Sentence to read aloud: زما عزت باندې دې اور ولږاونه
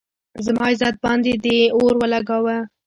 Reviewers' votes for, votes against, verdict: 2, 0, accepted